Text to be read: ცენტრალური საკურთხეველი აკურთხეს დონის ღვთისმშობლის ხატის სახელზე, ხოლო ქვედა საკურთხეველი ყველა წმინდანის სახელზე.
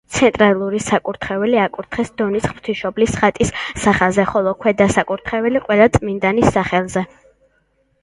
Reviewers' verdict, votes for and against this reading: accepted, 2, 0